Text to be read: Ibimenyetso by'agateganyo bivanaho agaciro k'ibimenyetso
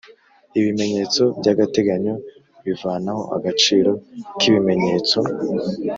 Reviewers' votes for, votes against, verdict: 2, 0, accepted